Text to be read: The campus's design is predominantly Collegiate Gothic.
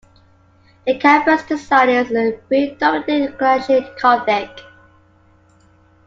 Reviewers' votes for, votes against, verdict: 0, 2, rejected